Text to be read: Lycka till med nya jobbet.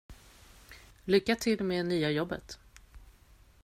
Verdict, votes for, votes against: accepted, 2, 0